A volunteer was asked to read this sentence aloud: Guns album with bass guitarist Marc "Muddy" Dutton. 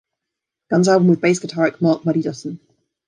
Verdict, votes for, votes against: accepted, 2, 1